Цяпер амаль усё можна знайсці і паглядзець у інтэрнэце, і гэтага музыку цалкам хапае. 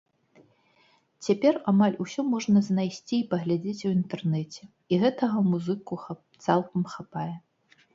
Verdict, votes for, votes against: rejected, 1, 2